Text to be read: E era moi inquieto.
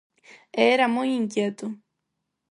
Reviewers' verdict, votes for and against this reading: accepted, 4, 0